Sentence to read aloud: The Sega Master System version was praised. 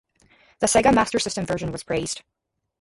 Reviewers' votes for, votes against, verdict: 0, 2, rejected